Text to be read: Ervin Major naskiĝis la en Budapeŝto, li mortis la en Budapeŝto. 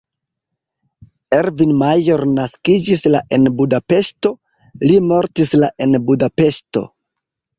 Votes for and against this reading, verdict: 2, 0, accepted